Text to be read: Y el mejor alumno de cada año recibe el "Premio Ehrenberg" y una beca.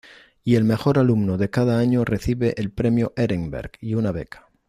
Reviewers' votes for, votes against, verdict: 2, 0, accepted